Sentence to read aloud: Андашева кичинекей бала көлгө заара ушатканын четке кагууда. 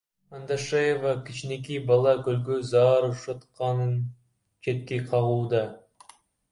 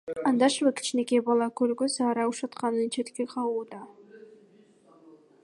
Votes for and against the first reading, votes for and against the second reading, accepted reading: 0, 2, 2, 1, second